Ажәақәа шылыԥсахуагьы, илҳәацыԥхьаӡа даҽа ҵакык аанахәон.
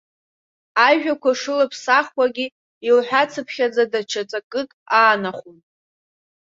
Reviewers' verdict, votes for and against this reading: rejected, 0, 2